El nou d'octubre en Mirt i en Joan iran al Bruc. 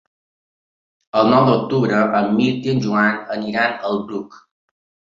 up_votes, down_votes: 1, 2